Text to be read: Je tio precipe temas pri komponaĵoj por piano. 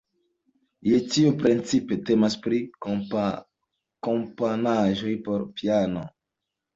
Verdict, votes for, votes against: rejected, 2, 3